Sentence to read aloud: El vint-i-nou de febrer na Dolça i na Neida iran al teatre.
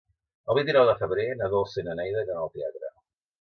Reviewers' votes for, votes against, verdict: 2, 0, accepted